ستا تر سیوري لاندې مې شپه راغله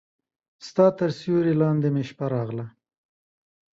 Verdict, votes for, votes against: accepted, 2, 0